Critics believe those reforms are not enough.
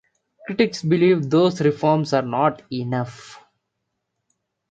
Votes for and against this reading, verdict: 0, 2, rejected